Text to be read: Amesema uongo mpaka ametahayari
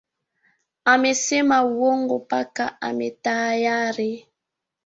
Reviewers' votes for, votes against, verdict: 2, 0, accepted